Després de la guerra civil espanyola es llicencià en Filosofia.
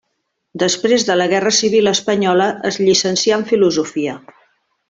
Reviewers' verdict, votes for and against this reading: accepted, 3, 0